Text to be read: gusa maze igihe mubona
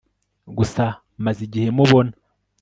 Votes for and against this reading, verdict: 2, 0, accepted